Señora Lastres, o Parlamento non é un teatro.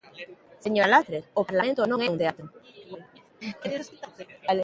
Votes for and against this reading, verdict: 0, 2, rejected